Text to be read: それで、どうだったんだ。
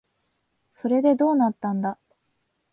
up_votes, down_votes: 2, 4